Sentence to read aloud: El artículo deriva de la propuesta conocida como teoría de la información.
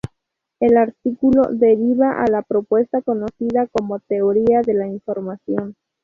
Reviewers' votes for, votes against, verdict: 0, 4, rejected